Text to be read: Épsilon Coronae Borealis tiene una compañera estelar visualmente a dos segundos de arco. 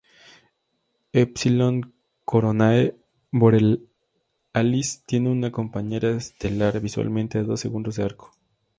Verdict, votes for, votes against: accepted, 2, 0